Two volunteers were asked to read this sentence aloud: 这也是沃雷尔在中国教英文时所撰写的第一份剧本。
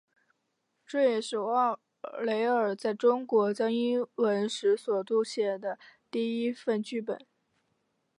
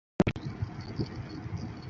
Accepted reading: first